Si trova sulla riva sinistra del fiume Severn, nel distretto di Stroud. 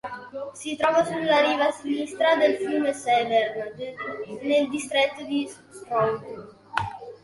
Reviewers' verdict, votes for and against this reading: rejected, 0, 2